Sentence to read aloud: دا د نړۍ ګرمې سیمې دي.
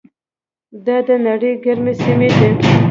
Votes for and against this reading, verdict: 1, 2, rejected